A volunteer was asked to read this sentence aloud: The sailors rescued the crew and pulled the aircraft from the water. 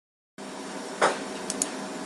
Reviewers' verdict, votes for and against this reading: rejected, 0, 2